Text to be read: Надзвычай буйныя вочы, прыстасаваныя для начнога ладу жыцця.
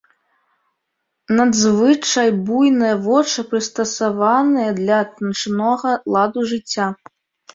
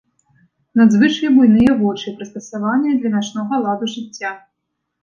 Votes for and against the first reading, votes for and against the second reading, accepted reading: 1, 2, 2, 0, second